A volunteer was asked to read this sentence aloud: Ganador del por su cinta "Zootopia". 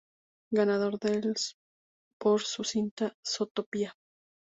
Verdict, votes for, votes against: accepted, 2, 0